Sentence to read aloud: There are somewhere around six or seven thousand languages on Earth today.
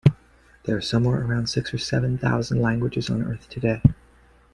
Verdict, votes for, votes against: accepted, 2, 0